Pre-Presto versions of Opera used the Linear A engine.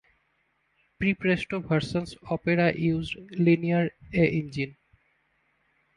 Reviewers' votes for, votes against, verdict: 1, 2, rejected